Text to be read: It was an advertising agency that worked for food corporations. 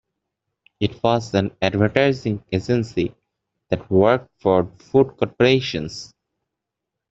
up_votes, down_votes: 2, 0